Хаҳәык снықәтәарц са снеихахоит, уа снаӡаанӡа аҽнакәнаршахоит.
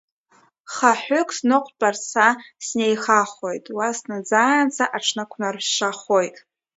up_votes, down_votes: 2, 1